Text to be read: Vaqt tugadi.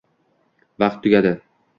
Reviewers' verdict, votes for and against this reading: accepted, 2, 0